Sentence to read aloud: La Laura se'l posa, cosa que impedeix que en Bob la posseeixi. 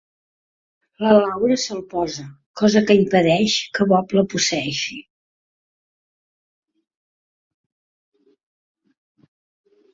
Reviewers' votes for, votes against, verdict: 0, 2, rejected